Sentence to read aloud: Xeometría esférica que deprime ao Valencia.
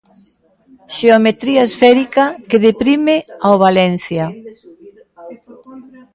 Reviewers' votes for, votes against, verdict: 1, 2, rejected